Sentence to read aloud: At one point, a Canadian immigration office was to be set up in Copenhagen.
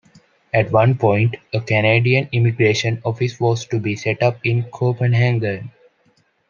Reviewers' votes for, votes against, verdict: 1, 2, rejected